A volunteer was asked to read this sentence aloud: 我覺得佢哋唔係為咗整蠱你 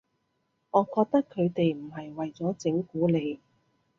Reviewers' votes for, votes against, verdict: 3, 0, accepted